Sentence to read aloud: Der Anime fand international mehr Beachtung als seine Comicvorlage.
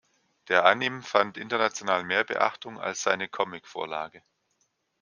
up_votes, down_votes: 1, 2